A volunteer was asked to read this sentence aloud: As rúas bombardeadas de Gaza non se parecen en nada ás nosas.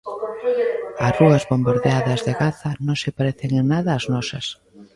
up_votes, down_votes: 0, 2